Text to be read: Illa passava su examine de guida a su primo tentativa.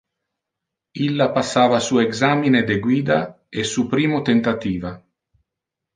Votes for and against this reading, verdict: 0, 2, rejected